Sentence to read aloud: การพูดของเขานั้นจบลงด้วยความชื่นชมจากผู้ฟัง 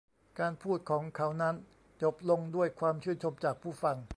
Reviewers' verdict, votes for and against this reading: accepted, 2, 1